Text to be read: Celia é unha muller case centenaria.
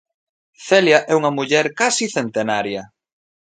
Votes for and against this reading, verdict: 0, 2, rejected